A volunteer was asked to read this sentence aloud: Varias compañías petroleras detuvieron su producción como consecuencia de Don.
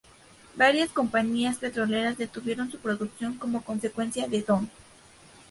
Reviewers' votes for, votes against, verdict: 2, 0, accepted